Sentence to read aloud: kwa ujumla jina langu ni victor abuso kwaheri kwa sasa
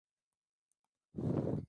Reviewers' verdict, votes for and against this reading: rejected, 0, 2